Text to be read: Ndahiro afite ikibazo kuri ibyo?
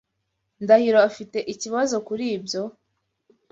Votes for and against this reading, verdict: 2, 0, accepted